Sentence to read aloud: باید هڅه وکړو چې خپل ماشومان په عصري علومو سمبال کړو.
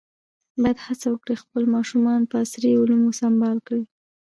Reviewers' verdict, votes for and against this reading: rejected, 1, 2